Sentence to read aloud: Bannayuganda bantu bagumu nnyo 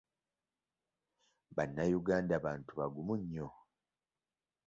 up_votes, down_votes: 2, 0